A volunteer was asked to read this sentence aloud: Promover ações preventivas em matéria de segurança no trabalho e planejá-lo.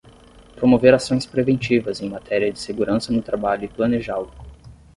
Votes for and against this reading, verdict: 10, 0, accepted